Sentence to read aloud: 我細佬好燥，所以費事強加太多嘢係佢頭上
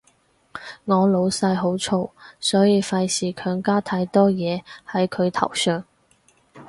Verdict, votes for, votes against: rejected, 0, 4